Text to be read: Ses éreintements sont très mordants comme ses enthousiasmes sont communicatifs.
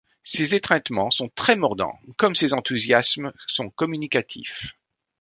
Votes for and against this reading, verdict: 0, 2, rejected